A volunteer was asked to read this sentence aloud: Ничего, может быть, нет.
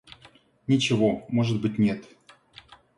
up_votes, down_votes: 2, 0